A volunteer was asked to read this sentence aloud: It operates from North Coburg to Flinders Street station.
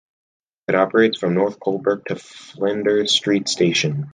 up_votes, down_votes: 2, 0